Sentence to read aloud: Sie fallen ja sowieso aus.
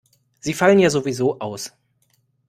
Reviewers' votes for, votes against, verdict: 2, 0, accepted